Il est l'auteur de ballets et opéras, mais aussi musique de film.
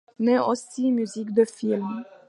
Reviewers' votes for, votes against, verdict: 0, 2, rejected